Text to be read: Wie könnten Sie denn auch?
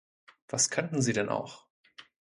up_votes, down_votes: 1, 3